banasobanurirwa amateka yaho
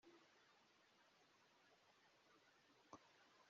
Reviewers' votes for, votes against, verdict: 0, 2, rejected